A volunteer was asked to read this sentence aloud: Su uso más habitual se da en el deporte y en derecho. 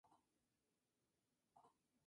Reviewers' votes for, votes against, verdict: 0, 2, rejected